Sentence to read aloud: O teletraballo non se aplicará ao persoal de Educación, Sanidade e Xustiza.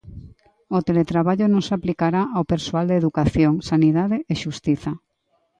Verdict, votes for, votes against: accepted, 2, 0